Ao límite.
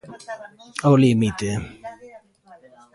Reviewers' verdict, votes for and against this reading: rejected, 0, 2